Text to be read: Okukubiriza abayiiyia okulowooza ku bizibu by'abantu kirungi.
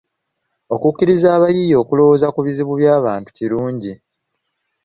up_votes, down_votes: 1, 2